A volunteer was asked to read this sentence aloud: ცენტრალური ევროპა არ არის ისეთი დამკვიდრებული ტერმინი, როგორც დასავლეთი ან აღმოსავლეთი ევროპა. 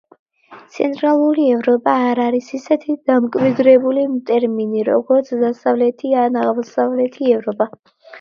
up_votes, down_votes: 2, 1